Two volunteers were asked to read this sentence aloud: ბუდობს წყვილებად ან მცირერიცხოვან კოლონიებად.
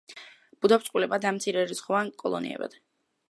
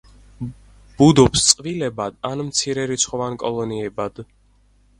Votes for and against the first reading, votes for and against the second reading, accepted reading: 0, 2, 6, 0, second